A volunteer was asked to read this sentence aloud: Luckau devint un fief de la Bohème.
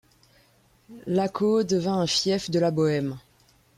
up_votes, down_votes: 0, 2